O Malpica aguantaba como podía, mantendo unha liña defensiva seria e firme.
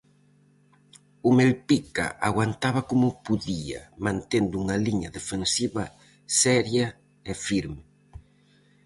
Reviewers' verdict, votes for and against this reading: rejected, 0, 4